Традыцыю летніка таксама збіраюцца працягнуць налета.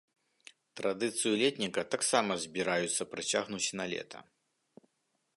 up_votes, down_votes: 1, 2